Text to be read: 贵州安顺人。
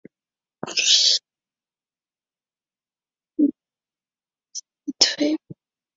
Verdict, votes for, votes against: rejected, 1, 3